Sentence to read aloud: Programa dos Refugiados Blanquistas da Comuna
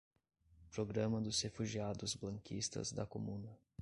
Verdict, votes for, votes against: accepted, 2, 0